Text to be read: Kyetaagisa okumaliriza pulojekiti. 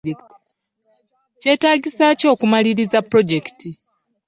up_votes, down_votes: 1, 2